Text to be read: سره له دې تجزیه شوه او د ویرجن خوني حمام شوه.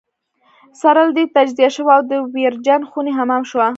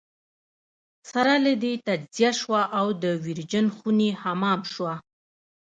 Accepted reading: second